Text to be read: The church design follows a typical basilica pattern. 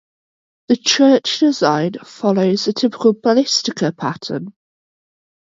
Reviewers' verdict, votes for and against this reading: accepted, 2, 0